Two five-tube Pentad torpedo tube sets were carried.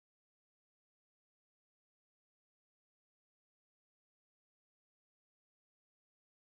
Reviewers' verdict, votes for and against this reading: rejected, 0, 4